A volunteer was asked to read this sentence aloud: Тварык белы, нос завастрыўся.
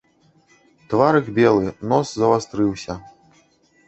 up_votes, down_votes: 1, 2